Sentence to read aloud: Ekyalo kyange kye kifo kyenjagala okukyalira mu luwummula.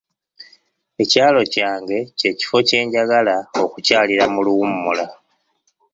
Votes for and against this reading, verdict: 2, 0, accepted